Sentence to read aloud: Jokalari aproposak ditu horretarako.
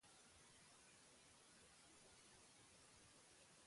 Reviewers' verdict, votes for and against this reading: rejected, 0, 2